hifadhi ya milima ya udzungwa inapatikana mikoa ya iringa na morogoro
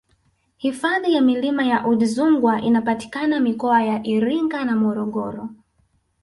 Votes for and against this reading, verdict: 3, 0, accepted